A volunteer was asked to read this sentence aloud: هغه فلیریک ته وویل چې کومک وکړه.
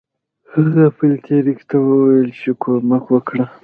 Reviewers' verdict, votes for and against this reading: rejected, 1, 2